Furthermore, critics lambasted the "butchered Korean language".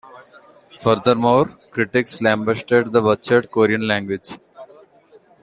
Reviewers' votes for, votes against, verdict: 2, 1, accepted